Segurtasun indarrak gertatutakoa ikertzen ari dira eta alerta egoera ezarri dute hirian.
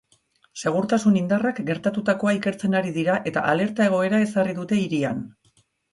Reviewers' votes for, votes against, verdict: 3, 0, accepted